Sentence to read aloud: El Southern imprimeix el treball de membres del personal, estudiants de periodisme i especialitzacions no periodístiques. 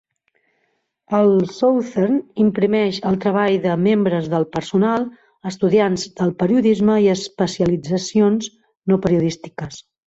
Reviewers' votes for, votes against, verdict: 1, 2, rejected